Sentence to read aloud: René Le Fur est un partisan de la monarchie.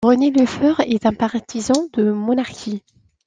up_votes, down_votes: 0, 2